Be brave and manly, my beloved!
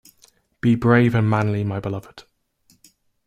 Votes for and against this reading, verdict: 2, 0, accepted